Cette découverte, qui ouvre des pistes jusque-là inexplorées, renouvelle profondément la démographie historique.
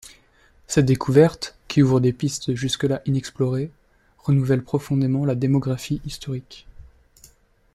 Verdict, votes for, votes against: accepted, 2, 1